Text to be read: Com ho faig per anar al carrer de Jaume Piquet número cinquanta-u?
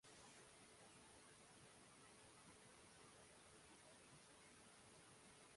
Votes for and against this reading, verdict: 0, 2, rejected